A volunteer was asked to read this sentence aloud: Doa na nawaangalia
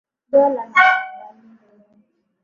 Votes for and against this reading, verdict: 0, 2, rejected